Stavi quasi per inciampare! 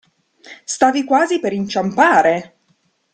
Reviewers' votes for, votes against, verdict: 2, 0, accepted